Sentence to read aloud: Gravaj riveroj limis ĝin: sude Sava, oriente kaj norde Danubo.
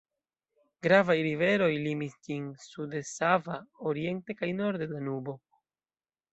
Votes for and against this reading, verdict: 1, 2, rejected